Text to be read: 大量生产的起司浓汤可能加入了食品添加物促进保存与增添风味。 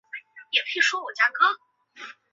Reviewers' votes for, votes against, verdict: 0, 2, rejected